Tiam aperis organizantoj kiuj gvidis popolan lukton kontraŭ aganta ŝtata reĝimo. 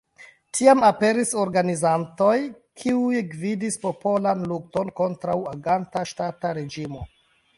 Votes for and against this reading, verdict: 2, 0, accepted